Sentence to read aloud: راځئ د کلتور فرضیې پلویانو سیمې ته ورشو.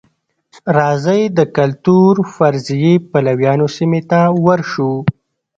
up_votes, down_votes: 1, 2